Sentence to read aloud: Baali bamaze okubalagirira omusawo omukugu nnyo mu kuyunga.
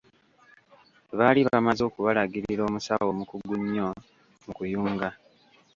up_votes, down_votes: 1, 2